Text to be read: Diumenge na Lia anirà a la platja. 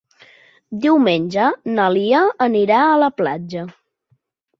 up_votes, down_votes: 4, 0